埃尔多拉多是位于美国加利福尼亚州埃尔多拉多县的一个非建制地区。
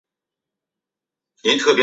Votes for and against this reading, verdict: 2, 4, rejected